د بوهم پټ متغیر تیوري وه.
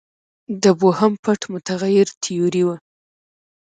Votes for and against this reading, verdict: 2, 0, accepted